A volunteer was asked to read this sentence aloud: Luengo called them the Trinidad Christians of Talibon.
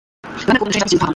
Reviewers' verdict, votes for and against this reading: rejected, 0, 2